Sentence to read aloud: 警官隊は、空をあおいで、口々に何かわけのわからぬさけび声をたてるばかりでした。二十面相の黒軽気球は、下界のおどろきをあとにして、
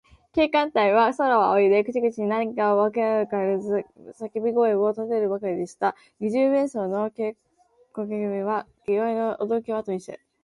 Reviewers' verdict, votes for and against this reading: rejected, 0, 2